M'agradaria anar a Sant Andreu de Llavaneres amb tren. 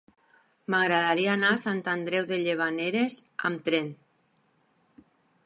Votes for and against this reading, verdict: 0, 2, rejected